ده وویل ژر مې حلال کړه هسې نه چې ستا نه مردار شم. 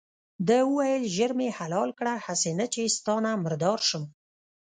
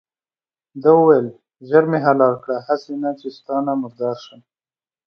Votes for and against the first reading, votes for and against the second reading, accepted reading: 0, 2, 2, 0, second